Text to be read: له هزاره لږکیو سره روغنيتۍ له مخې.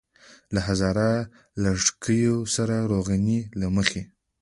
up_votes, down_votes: 2, 0